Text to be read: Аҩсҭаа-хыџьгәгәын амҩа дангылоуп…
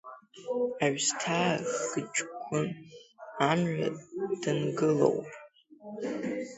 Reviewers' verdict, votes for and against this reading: rejected, 0, 2